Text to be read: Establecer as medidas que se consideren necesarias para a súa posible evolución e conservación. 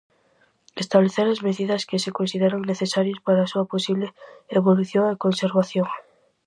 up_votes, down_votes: 4, 0